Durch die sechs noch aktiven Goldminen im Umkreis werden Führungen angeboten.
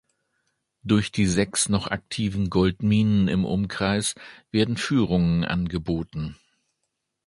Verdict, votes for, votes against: accepted, 2, 0